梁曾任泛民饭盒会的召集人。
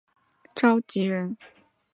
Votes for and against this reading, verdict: 0, 2, rejected